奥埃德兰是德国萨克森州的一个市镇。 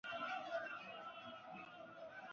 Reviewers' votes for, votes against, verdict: 0, 4, rejected